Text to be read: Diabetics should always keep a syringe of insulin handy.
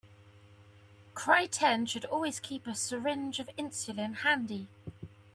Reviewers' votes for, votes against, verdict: 0, 2, rejected